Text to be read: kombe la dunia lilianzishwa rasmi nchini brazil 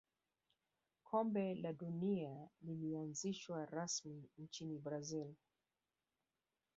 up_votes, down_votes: 1, 2